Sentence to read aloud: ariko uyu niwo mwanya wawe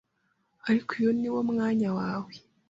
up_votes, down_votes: 2, 0